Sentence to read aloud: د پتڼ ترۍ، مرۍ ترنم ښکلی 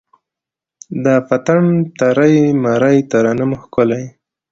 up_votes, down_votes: 2, 0